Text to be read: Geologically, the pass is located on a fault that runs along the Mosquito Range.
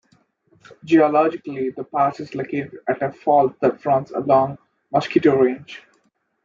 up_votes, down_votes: 1, 2